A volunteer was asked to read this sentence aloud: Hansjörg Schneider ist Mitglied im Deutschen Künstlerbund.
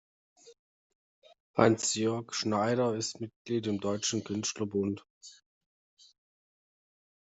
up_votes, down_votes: 2, 0